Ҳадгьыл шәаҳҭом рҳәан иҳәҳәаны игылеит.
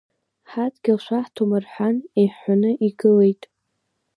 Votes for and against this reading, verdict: 2, 0, accepted